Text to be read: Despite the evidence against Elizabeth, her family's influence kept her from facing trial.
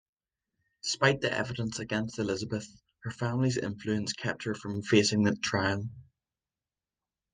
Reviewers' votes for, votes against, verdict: 0, 2, rejected